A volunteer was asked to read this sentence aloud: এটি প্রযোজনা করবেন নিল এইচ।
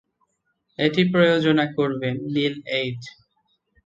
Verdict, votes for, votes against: rejected, 1, 2